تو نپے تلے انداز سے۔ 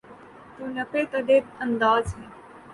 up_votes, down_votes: 6, 0